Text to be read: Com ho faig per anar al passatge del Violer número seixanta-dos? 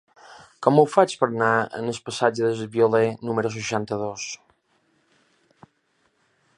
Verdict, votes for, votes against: rejected, 0, 2